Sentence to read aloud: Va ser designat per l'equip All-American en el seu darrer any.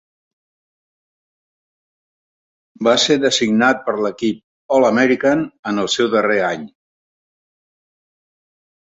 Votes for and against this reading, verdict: 3, 0, accepted